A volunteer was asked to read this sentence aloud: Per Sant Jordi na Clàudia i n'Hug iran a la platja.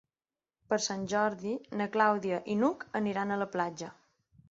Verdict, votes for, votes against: rejected, 1, 2